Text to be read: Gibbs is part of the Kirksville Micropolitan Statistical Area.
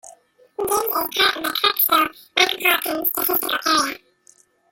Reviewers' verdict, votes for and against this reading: rejected, 0, 2